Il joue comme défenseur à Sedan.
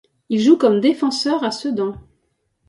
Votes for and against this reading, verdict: 2, 0, accepted